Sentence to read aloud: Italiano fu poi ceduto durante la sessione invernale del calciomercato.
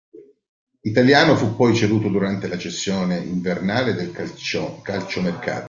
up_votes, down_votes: 0, 3